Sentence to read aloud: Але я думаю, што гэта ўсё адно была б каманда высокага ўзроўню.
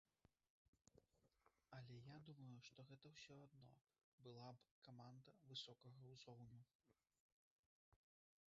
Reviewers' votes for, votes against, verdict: 0, 2, rejected